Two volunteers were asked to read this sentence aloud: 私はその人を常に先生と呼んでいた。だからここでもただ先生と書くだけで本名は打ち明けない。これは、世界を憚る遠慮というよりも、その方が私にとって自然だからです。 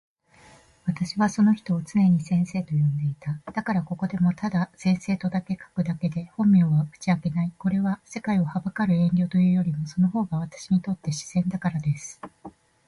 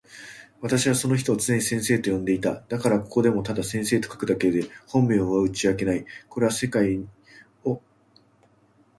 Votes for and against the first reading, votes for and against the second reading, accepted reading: 2, 1, 0, 2, first